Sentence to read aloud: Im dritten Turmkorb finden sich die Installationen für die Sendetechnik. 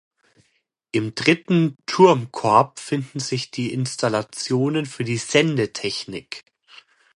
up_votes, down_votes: 2, 0